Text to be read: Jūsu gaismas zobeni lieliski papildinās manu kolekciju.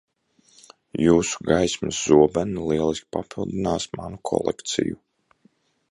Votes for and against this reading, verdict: 2, 0, accepted